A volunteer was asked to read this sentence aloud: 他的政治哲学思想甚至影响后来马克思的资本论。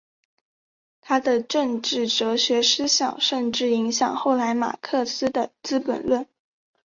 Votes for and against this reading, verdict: 2, 0, accepted